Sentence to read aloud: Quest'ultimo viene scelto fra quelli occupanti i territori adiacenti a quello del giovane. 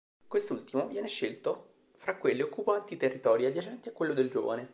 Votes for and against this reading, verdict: 3, 2, accepted